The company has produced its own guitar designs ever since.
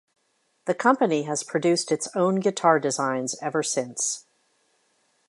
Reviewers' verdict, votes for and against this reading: accepted, 2, 1